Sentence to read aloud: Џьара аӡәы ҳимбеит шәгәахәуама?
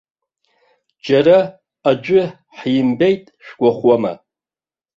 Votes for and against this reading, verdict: 2, 0, accepted